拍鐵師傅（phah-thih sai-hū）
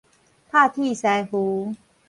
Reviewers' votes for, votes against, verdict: 4, 0, accepted